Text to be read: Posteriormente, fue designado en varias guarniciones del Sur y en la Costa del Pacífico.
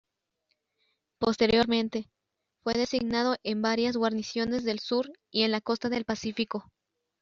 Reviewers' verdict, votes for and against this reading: rejected, 0, 2